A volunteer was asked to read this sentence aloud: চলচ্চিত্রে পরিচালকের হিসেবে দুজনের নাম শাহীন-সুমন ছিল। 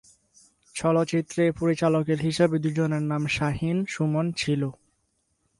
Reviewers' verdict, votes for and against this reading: accepted, 4, 0